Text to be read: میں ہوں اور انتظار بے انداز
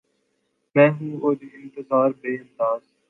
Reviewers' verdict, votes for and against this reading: rejected, 0, 2